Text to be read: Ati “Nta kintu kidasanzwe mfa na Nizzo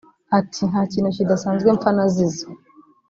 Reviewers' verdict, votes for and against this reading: rejected, 1, 2